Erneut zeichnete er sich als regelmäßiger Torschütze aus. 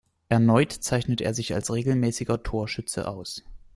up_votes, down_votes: 2, 0